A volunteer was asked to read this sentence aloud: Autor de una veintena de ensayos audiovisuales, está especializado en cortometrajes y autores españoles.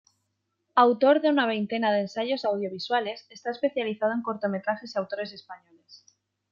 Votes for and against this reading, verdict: 2, 0, accepted